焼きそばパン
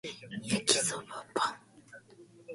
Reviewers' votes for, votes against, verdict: 2, 0, accepted